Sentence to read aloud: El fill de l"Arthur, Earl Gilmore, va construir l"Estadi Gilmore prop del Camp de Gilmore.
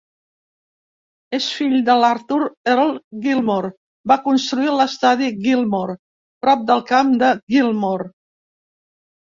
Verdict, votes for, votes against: rejected, 0, 2